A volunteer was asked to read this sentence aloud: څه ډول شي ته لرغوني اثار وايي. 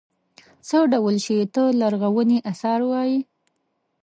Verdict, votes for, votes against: rejected, 1, 2